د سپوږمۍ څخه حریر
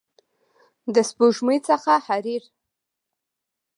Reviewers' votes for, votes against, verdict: 2, 0, accepted